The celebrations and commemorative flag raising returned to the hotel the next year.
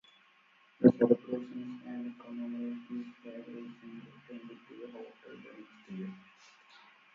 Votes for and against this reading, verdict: 0, 2, rejected